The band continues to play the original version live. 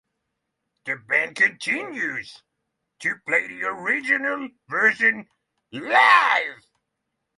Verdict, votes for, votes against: accepted, 3, 0